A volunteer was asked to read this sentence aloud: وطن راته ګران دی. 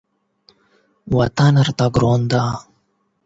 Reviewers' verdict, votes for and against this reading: accepted, 8, 0